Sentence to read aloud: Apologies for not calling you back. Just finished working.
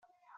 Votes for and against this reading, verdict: 0, 4, rejected